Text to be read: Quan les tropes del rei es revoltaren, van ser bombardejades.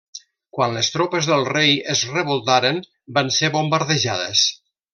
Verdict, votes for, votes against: accepted, 3, 0